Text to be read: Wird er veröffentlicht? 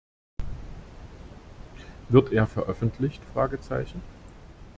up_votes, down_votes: 0, 2